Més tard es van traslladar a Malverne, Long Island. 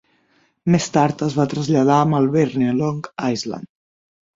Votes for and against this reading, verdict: 3, 6, rejected